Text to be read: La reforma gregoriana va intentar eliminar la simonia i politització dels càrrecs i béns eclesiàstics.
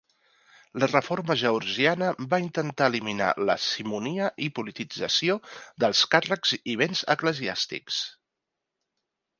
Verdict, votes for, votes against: rejected, 0, 2